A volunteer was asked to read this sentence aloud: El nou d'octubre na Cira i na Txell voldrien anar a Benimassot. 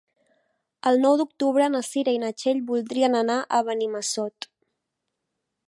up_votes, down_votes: 3, 0